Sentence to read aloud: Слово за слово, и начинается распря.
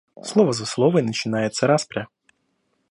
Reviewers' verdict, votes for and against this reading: rejected, 1, 2